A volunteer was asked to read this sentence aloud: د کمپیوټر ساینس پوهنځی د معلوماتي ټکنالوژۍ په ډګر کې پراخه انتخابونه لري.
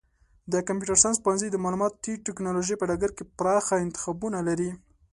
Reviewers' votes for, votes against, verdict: 2, 0, accepted